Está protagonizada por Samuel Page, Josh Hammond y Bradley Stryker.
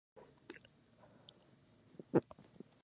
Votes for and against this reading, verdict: 0, 2, rejected